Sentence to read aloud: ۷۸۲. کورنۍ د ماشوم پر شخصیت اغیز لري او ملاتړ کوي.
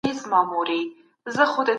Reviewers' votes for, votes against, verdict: 0, 2, rejected